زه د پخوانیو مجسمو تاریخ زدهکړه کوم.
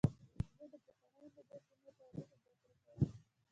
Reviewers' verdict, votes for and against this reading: rejected, 0, 2